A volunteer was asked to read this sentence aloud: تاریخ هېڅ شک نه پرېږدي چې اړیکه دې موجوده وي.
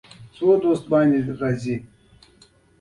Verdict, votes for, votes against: accepted, 2, 0